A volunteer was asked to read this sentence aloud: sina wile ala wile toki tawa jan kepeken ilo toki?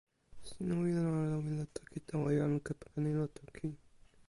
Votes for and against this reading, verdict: 0, 2, rejected